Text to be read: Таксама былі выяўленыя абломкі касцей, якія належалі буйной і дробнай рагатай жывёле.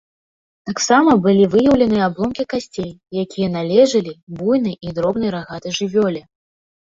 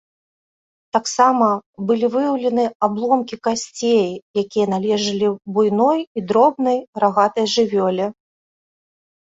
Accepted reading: second